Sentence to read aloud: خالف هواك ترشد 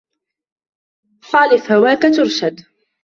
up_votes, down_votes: 2, 1